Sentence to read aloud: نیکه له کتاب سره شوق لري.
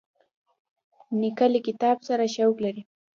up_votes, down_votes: 1, 2